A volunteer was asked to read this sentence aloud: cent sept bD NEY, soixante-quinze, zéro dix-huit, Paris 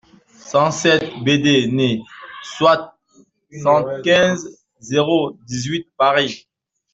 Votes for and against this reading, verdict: 1, 2, rejected